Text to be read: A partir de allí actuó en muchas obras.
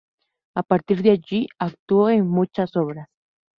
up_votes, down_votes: 0, 2